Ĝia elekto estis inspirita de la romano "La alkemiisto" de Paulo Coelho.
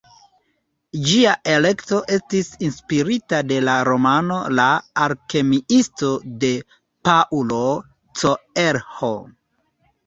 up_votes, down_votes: 2, 3